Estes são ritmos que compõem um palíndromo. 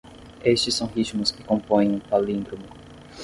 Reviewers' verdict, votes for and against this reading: accepted, 10, 0